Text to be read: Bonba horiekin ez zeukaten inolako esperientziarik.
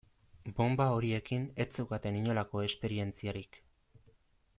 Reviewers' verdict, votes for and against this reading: accepted, 2, 0